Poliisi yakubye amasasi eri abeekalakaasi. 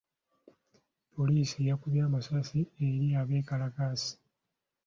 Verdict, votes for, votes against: accepted, 2, 0